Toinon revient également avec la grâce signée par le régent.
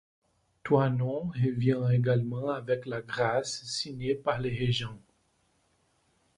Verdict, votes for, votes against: rejected, 0, 2